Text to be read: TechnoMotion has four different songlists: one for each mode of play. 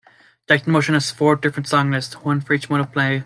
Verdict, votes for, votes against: rejected, 1, 2